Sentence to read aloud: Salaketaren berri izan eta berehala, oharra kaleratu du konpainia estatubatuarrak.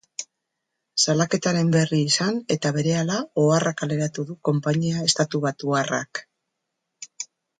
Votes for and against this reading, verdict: 2, 0, accepted